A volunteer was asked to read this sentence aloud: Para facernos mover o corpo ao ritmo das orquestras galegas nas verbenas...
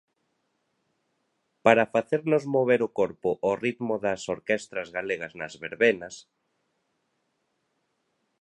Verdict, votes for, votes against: rejected, 1, 2